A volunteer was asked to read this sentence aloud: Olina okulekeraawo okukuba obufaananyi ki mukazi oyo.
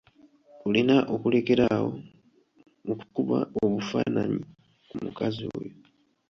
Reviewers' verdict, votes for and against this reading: rejected, 0, 2